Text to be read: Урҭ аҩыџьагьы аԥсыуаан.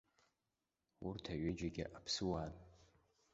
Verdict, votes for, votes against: accepted, 2, 0